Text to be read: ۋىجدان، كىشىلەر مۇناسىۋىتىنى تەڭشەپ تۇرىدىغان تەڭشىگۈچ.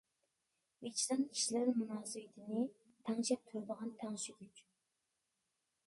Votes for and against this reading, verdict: 0, 2, rejected